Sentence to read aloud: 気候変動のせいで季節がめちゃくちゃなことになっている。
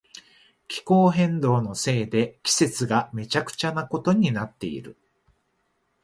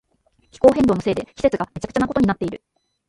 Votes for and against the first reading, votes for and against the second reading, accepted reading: 2, 0, 1, 2, first